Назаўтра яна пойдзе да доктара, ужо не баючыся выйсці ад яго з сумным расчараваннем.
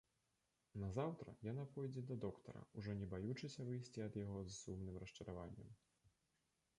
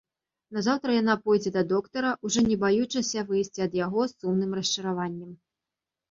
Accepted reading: second